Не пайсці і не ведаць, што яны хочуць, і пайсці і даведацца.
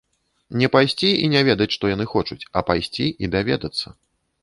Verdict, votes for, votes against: rejected, 0, 2